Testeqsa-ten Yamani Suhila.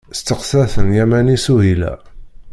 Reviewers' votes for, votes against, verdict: 2, 0, accepted